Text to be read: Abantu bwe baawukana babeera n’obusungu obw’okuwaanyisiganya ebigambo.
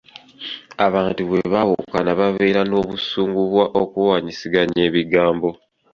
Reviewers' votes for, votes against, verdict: 2, 0, accepted